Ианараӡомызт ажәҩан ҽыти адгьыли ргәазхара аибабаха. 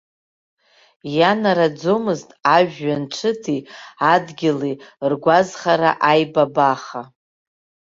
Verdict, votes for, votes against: rejected, 1, 2